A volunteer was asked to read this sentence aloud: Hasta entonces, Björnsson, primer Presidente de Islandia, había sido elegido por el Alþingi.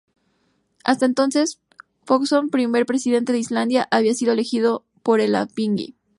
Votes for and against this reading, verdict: 0, 2, rejected